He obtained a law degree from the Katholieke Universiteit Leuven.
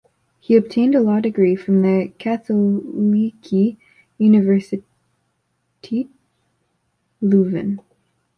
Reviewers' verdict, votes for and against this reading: rejected, 1, 2